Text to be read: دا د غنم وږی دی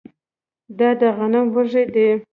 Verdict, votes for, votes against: accepted, 2, 1